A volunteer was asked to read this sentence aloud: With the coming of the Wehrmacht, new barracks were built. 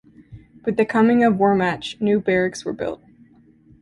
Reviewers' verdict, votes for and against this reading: rejected, 1, 2